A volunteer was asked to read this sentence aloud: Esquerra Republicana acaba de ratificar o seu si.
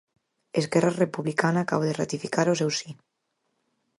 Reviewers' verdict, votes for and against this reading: accepted, 4, 0